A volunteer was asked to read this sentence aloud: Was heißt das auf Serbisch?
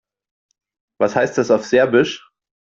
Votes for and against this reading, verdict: 2, 0, accepted